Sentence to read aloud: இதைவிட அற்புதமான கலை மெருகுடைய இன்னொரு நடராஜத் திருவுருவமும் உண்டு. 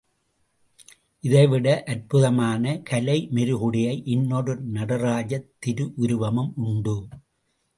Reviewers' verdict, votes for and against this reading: accepted, 2, 0